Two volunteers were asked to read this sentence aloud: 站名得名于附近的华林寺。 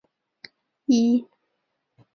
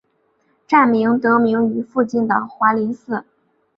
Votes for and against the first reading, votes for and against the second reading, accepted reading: 0, 2, 2, 0, second